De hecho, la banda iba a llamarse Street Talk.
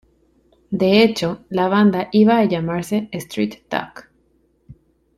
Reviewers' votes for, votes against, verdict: 2, 0, accepted